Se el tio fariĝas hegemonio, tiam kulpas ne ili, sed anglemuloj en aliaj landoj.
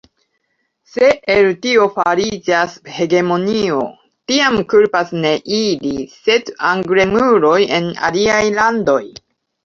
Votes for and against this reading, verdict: 2, 1, accepted